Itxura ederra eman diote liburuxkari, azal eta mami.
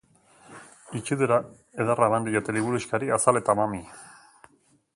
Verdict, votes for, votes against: rejected, 0, 2